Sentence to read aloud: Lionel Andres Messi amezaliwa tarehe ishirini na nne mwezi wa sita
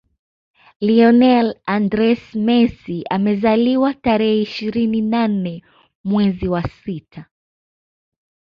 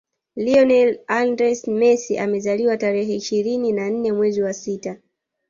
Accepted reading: first